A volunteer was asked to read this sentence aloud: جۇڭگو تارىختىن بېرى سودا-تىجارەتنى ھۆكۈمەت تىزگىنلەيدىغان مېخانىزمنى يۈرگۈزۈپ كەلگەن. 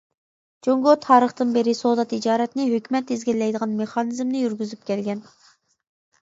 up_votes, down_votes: 2, 0